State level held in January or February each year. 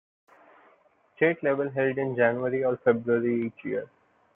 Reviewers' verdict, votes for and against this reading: accepted, 2, 0